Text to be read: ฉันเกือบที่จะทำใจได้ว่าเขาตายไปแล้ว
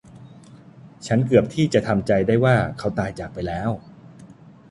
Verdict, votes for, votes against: rejected, 0, 2